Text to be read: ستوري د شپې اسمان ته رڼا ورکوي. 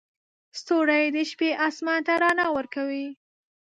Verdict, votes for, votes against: rejected, 0, 2